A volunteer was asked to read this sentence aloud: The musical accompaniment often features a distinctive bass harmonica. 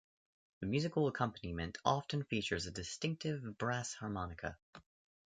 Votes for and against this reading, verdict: 0, 2, rejected